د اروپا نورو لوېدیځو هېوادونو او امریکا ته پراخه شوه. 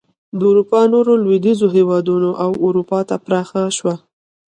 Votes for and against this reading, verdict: 2, 0, accepted